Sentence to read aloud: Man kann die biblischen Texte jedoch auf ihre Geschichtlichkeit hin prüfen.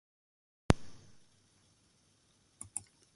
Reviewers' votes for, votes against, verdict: 0, 2, rejected